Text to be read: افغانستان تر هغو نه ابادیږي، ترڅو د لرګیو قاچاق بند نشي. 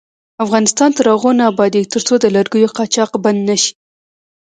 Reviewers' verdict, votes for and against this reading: rejected, 1, 2